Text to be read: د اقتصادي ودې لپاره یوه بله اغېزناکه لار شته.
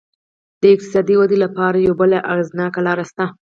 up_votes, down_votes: 2, 2